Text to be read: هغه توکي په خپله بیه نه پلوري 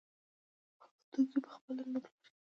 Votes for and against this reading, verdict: 1, 2, rejected